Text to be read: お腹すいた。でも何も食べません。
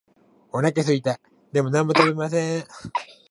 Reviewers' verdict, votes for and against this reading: accepted, 2, 1